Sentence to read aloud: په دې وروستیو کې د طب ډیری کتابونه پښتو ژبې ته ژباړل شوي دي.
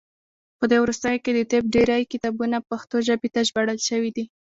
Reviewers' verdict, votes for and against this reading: accepted, 2, 1